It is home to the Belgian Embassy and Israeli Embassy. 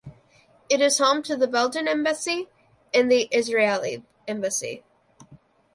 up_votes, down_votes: 1, 2